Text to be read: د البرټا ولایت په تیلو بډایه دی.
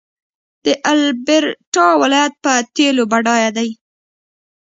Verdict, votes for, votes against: rejected, 1, 2